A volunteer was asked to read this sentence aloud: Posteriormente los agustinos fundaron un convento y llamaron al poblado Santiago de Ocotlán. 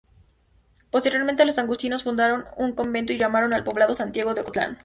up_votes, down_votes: 2, 0